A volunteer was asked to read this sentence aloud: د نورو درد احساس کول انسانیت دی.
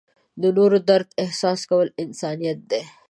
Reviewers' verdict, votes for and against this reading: accepted, 2, 0